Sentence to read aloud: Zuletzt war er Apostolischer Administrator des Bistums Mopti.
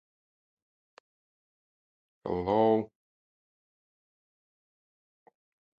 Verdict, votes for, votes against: rejected, 0, 2